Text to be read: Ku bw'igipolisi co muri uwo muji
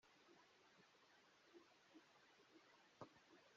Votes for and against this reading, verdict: 0, 2, rejected